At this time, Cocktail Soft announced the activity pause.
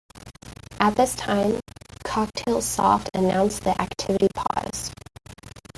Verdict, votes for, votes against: accepted, 2, 1